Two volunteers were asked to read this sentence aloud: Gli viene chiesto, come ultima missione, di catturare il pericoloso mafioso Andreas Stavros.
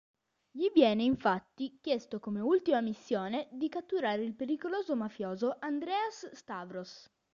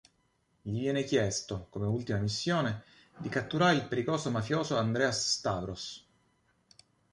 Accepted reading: second